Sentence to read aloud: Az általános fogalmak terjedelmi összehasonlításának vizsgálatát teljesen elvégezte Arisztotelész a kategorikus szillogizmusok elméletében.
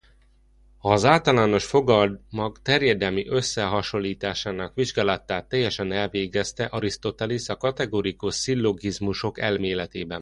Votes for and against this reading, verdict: 2, 1, accepted